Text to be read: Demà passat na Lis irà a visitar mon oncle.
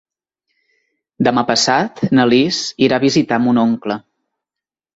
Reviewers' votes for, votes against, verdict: 2, 0, accepted